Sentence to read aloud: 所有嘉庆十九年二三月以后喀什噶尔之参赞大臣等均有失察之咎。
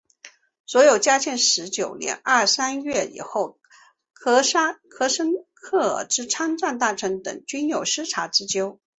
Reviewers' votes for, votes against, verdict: 0, 2, rejected